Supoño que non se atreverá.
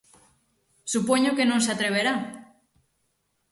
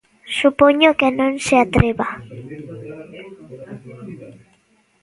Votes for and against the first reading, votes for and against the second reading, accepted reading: 6, 0, 0, 2, first